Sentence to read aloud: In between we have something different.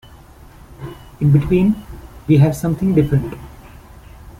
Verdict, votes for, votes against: accepted, 2, 0